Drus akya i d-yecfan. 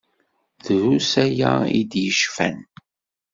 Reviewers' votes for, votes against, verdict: 1, 2, rejected